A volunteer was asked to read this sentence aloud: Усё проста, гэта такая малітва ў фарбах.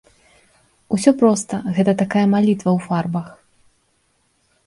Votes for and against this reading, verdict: 2, 0, accepted